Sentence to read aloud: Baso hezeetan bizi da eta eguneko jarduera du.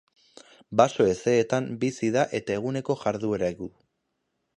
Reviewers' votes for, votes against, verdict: 2, 0, accepted